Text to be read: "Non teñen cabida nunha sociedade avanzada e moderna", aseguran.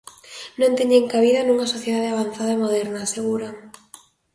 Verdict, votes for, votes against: accepted, 2, 0